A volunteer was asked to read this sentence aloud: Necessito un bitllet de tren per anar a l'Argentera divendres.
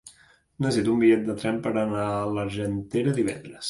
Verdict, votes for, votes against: rejected, 0, 2